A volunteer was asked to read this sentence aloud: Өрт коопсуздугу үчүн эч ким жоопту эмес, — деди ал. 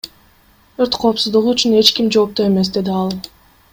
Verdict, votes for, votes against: rejected, 1, 2